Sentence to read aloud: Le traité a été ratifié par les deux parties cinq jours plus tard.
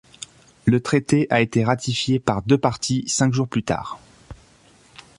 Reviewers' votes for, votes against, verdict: 0, 2, rejected